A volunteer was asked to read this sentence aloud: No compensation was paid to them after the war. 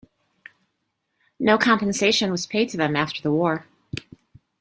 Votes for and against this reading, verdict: 2, 0, accepted